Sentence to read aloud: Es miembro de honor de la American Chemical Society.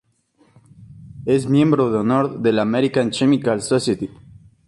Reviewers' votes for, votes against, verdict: 2, 0, accepted